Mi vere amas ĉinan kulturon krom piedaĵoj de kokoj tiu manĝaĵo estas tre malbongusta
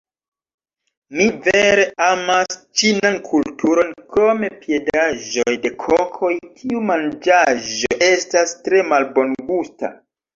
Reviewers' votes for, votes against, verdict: 1, 2, rejected